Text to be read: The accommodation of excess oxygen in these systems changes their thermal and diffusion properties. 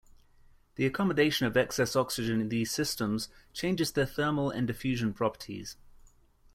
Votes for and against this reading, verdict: 2, 0, accepted